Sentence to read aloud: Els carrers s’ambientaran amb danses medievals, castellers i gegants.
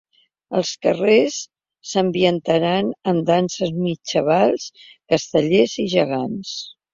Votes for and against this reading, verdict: 2, 1, accepted